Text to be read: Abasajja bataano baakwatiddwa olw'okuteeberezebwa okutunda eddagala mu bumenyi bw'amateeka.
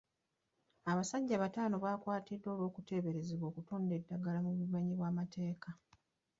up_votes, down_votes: 2, 1